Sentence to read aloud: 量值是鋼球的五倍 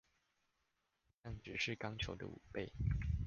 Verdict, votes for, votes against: rejected, 1, 2